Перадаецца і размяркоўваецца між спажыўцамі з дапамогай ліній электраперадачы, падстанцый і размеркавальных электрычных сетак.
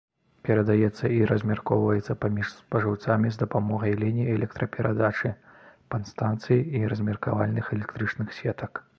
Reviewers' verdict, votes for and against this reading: rejected, 0, 2